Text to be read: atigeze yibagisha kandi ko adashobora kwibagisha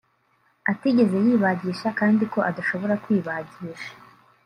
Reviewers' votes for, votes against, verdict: 0, 2, rejected